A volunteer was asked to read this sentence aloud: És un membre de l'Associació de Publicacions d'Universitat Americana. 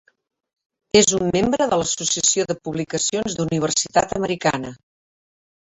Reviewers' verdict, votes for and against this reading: rejected, 0, 2